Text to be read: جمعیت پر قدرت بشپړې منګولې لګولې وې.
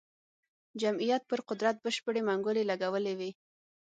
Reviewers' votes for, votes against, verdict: 6, 0, accepted